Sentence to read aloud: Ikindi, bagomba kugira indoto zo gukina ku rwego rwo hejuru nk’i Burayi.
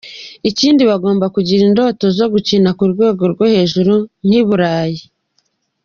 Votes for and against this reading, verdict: 2, 0, accepted